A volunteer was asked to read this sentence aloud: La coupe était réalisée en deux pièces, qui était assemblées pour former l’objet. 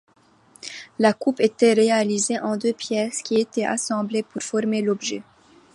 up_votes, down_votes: 2, 1